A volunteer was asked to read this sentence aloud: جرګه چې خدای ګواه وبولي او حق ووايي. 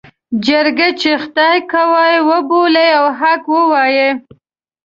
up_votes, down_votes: 2, 0